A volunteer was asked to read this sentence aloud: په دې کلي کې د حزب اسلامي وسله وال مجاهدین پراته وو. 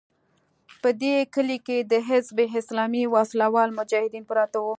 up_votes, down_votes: 2, 0